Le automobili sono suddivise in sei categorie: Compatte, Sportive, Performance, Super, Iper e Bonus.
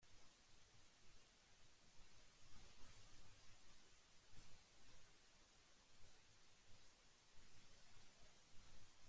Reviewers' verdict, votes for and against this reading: rejected, 0, 2